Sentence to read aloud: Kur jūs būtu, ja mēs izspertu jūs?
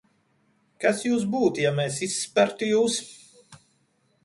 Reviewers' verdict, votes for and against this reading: rejected, 0, 2